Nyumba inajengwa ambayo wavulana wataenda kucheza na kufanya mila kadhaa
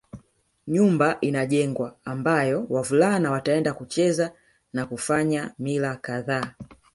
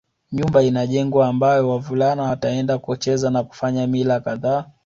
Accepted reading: second